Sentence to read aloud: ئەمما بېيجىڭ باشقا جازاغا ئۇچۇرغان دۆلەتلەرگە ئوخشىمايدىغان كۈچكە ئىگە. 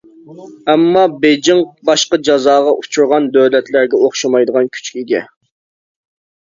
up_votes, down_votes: 2, 0